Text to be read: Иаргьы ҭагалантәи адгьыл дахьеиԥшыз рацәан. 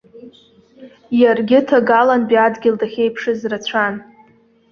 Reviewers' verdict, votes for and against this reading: accepted, 2, 1